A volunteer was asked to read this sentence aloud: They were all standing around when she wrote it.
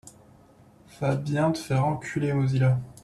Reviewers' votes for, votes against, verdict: 0, 2, rejected